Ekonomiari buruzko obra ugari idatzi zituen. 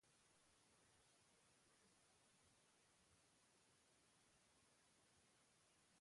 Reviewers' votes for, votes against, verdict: 0, 2, rejected